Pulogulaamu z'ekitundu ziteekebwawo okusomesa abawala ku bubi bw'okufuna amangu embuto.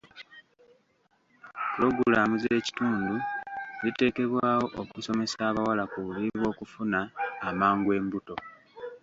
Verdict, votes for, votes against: accepted, 2, 0